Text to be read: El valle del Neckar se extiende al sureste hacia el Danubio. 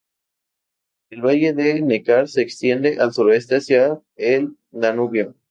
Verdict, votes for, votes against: accepted, 2, 0